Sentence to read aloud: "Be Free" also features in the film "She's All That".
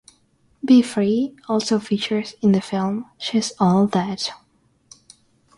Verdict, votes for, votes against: rejected, 3, 6